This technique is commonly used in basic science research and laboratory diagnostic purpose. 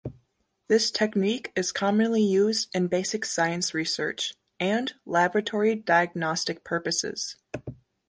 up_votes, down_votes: 1, 2